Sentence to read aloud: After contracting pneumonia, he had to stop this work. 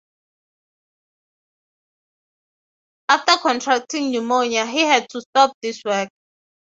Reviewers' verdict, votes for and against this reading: rejected, 3, 6